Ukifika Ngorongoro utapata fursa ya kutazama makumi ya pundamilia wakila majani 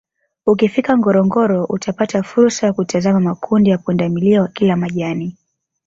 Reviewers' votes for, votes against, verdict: 0, 2, rejected